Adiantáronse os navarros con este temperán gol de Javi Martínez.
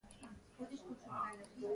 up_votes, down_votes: 0, 2